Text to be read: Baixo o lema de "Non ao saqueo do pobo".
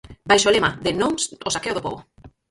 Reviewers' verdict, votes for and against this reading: rejected, 0, 4